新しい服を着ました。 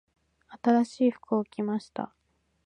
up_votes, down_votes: 2, 0